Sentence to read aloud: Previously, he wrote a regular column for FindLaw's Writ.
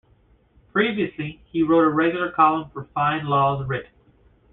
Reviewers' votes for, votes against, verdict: 2, 0, accepted